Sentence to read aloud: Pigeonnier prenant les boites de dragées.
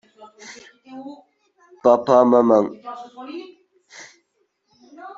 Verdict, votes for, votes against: rejected, 0, 2